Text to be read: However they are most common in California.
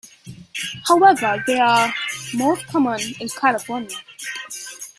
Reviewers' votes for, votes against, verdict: 2, 1, accepted